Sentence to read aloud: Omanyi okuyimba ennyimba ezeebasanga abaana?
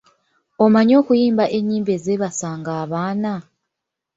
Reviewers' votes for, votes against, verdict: 1, 2, rejected